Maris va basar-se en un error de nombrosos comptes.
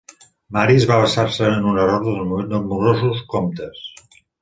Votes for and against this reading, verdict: 1, 2, rejected